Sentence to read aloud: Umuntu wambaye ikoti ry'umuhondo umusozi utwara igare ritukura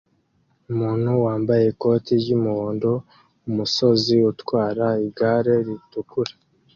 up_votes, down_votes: 2, 0